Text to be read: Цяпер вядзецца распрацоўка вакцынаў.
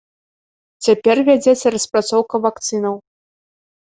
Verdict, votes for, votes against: accepted, 2, 0